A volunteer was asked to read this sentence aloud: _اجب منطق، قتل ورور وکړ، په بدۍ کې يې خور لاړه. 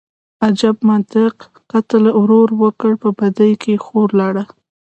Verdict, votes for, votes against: accepted, 2, 0